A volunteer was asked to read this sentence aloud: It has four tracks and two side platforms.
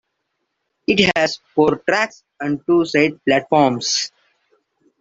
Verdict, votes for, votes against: rejected, 0, 2